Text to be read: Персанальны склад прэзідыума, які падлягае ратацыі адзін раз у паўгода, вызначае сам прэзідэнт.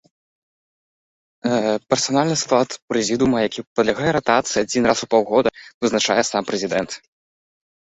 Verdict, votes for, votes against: rejected, 1, 2